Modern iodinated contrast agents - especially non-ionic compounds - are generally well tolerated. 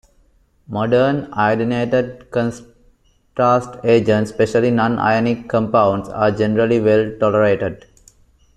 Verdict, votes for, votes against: rejected, 0, 2